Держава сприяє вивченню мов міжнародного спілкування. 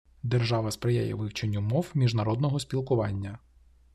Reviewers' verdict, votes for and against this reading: accepted, 2, 0